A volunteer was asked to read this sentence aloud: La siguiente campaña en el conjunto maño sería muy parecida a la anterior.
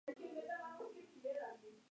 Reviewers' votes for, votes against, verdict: 0, 2, rejected